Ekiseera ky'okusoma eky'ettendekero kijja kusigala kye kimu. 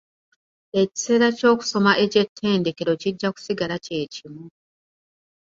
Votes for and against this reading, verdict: 2, 0, accepted